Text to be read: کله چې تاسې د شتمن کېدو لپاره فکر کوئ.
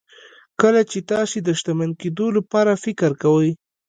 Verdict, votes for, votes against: accepted, 2, 0